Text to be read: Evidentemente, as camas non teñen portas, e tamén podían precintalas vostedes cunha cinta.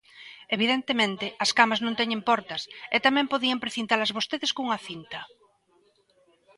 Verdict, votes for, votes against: accepted, 2, 1